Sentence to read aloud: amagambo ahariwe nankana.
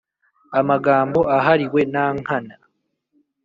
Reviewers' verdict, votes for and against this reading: accepted, 4, 0